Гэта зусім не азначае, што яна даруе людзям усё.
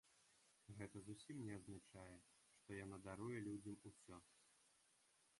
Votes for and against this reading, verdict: 0, 2, rejected